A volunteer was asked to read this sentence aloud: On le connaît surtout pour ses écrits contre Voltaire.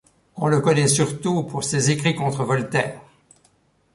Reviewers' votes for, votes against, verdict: 2, 0, accepted